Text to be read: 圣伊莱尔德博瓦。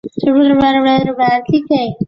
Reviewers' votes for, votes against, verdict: 1, 5, rejected